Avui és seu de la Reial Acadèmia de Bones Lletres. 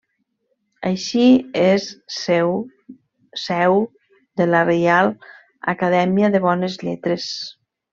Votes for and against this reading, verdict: 0, 2, rejected